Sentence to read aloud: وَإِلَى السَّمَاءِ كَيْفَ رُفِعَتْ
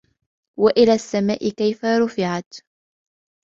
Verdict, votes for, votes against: accepted, 2, 0